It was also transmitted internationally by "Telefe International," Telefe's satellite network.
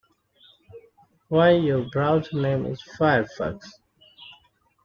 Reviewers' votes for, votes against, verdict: 0, 2, rejected